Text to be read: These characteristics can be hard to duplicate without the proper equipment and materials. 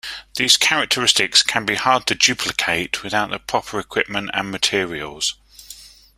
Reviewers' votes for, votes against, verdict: 2, 0, accepted